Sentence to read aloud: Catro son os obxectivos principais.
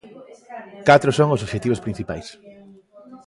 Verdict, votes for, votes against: accepted, 2, 0